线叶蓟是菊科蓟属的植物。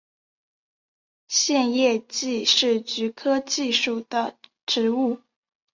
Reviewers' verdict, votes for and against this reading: accepted, 2, 1